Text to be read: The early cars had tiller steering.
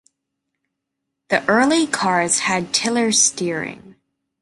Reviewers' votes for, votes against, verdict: 2, 0, accepted